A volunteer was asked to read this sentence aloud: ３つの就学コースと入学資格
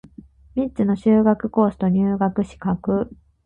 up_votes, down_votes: 0, 2